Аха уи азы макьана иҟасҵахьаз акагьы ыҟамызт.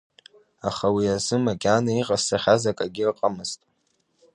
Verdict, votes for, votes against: accepted, 2, 0